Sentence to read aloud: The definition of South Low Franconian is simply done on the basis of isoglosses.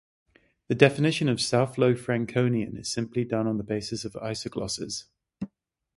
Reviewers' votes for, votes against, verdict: 6, 3, accepted